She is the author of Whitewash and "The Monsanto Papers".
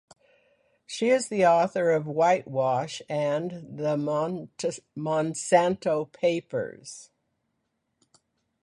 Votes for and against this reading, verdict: 1, 2, rejected